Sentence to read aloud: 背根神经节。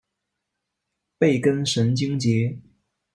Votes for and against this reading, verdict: 2, 0, accepted